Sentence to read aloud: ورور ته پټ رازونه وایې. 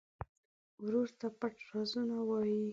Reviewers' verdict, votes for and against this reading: accepted, 2, 1